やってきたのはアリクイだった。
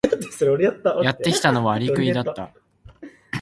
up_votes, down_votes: 4, 6